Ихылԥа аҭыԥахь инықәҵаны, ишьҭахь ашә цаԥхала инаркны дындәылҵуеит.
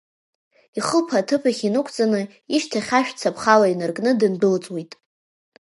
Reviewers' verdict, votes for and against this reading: accepted, 2, 0